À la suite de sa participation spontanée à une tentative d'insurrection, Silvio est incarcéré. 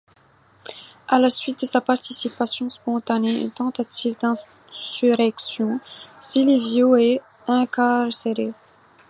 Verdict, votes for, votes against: accepted, 2, 1